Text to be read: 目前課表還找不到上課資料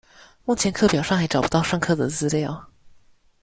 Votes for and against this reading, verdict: 0, 2, rejected